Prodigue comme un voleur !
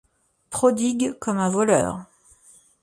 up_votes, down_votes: 2, 0